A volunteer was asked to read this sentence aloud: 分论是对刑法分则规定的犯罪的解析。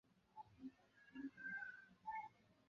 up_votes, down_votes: 0, 2